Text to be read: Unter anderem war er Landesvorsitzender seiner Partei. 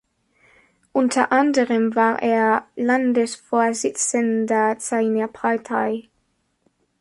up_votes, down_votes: 2, 0